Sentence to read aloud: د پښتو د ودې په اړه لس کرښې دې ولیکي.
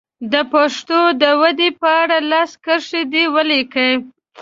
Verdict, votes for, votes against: rejected, 1, 2